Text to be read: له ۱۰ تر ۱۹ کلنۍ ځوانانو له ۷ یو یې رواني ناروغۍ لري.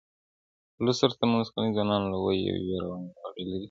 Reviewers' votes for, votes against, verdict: 0, 2, rejected